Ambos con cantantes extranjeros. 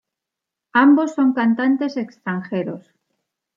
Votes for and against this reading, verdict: 0, 2, rejected